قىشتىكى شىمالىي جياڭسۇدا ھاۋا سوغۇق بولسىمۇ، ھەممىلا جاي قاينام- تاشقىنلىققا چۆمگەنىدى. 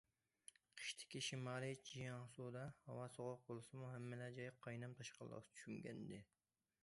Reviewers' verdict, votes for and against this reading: rejected, 1, 2